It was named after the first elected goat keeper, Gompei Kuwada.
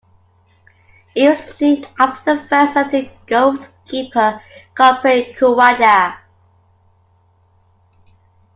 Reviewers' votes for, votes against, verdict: 2, 1, accepted